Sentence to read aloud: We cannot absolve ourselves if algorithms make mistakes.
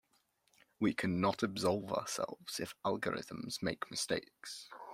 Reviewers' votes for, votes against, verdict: 2, 0, accepted